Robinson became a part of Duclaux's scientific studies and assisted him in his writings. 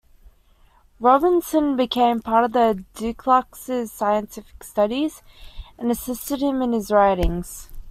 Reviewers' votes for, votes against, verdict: 0, 2, rejected